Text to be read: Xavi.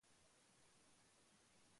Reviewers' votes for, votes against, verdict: 0, 2, rejected